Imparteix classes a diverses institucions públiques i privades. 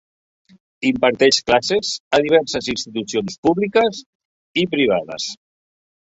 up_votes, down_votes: 3, 0